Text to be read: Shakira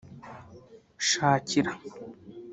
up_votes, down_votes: 0, 2